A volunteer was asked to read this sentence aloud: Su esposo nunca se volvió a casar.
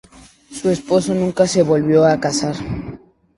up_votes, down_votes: 2, 0